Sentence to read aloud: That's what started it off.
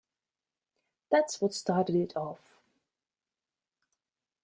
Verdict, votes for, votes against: accepted, 3, 0